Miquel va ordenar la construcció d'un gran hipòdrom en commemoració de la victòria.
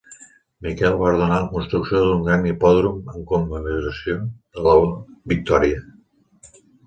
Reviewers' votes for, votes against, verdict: 2, 1, accepted